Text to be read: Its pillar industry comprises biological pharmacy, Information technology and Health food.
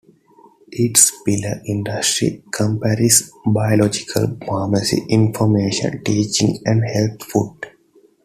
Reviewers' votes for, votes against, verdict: 0, 2, rejected